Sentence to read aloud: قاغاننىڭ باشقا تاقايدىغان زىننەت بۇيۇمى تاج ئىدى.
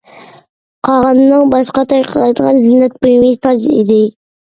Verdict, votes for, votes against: rejected, 1, 2